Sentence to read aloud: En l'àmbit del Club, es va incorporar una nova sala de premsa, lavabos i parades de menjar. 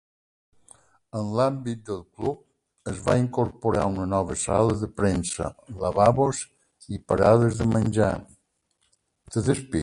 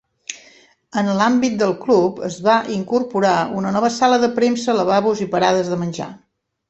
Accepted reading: second